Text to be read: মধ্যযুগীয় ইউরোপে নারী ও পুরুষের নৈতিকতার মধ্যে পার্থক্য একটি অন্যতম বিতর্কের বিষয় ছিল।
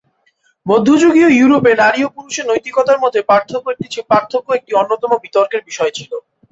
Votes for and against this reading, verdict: 0, 2, rejected